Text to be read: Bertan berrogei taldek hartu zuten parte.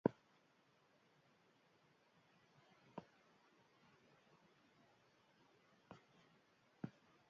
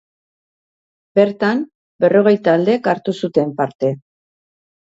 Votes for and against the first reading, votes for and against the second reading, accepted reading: 0, 4, 3, 0, second